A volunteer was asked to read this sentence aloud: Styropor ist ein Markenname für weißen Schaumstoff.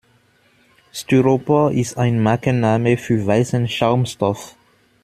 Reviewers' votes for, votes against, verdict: 2, 0, accepted